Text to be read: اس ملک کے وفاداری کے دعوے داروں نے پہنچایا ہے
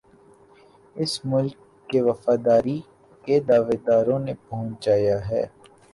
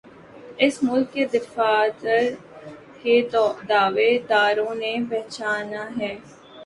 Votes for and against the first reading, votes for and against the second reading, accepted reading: 5, 4, 0, 2, first